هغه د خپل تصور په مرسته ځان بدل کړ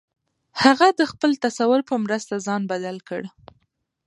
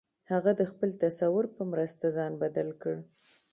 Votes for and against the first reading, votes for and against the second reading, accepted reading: 2, 1, 1, 2, first